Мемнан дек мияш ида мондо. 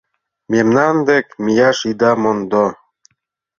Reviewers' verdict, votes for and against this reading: accepted, 3, 1